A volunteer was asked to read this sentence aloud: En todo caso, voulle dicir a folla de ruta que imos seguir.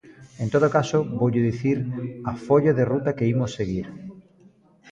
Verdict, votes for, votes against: accepted, 2, 0